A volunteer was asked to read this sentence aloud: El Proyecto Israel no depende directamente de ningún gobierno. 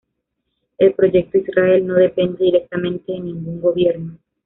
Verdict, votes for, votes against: rejected, 0, 2